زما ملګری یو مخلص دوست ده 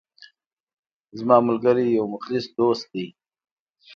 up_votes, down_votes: 2, 0